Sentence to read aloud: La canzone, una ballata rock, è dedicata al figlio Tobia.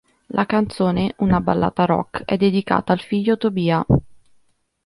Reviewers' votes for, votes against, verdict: 2, 0, accepted